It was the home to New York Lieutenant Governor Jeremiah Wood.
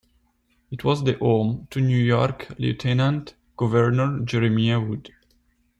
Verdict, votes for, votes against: rejected, 1, 2